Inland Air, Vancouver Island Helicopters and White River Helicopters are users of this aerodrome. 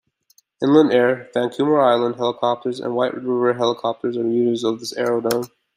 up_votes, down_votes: 2, 0